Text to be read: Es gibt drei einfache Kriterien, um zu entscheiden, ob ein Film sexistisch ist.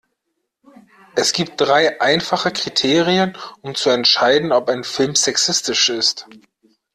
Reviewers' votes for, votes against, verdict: 2, 0, accepted